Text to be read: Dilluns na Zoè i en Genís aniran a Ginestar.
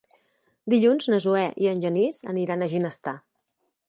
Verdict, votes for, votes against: accepted, 2, 0